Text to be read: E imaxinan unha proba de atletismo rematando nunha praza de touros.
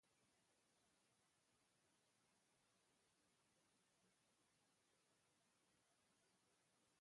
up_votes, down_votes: 1, 2